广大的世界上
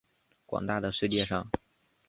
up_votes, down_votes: 4, 0